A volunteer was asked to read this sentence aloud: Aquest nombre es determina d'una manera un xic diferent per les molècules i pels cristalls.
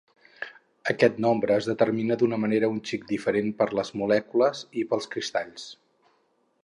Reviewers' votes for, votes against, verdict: 2, 0, accepted